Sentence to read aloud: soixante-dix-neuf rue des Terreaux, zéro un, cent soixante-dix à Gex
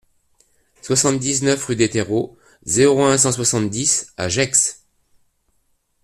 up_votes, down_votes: 2, 0